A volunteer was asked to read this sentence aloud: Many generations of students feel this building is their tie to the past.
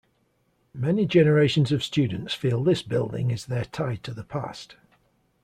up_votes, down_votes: 0, 2